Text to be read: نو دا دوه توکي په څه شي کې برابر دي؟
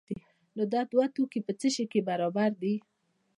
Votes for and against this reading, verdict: 2, 0, accepted